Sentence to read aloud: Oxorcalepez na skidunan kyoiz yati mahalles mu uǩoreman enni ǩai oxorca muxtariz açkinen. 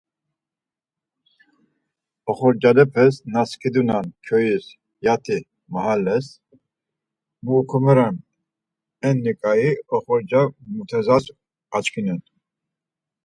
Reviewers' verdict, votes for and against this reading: rejected, 0, 4